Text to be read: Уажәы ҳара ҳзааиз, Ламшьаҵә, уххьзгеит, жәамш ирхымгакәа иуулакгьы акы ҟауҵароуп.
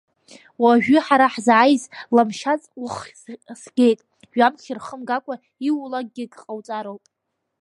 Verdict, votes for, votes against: rejected, 1, 2